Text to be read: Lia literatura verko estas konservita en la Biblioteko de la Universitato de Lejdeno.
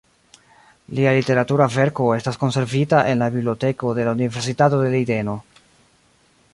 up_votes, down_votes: 2, 0